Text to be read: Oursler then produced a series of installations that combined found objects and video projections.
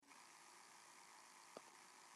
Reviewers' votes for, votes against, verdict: 0, 2, rejected